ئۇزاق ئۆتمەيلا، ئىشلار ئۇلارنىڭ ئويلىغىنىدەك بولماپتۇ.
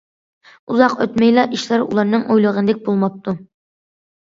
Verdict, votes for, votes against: accepted, 2, 0